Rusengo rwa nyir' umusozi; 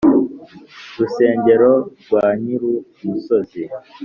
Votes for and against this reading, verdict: 2, 3, rejected